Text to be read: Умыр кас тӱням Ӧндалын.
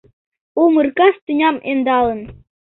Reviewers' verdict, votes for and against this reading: accepted, 2, 0